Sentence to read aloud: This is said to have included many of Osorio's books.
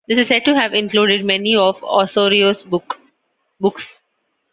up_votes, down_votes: 1, 2